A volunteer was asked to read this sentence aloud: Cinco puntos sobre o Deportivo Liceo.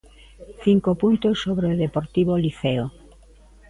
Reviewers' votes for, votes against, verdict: 2, 0, accepted